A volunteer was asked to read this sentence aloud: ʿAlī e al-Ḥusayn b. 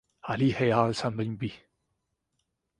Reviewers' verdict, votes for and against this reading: rejected, 0, 2